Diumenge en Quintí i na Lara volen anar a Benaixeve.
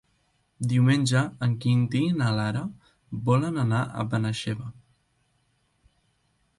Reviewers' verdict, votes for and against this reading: accepted, 3, 0